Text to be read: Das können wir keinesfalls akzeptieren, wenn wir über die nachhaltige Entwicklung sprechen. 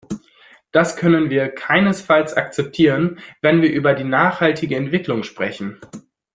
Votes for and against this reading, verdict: 2, 0, accepted